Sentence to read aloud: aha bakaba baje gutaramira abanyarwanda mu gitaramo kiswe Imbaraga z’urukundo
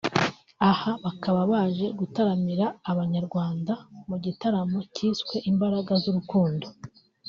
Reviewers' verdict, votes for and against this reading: accepted, 4, 0